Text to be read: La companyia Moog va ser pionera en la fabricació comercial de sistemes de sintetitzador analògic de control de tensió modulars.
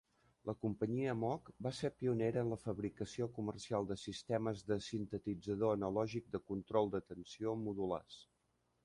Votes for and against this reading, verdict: 2, 0, accepted